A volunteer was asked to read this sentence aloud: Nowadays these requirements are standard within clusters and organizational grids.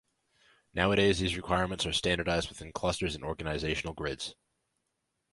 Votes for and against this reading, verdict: 1, 2, rejected